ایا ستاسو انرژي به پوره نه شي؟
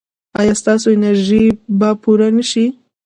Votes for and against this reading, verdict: 1, 2, rejected